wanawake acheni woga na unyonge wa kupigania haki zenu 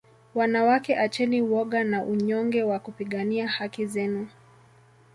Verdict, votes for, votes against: accepted, 2, 1